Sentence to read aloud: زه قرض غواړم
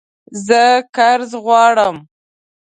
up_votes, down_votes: 2, 0